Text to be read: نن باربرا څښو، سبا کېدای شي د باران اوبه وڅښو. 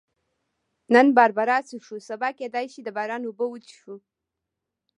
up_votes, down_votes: 2, 0